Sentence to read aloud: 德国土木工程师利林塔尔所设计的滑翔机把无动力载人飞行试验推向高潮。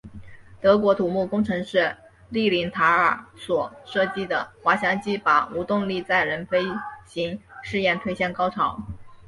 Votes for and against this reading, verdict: 3, 0, accepted